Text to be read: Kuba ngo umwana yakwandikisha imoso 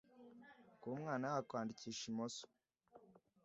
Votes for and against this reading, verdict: 1, 2, rejected